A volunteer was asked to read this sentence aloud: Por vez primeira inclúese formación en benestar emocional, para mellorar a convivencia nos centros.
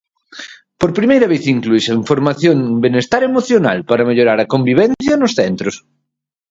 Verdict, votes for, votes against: rejected, 0, 4